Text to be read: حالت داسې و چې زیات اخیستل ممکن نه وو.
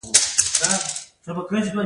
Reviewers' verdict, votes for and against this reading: rejected, 0, 2